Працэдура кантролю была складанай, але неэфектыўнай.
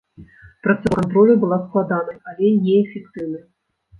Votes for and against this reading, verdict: 0, 2, rejected